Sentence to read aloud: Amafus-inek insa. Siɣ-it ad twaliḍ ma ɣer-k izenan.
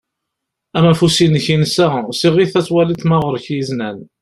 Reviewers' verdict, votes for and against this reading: accepted, 2, 0